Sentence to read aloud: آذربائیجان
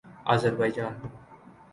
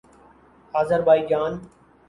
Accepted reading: second